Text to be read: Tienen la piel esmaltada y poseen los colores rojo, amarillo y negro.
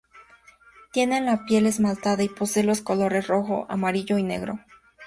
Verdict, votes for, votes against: accepted, 2, 0